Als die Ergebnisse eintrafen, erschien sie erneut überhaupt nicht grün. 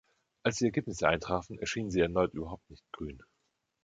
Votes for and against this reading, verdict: 2, 0, accepted